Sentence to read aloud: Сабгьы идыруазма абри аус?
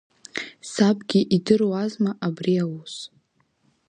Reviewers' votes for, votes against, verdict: 2, 0, accepted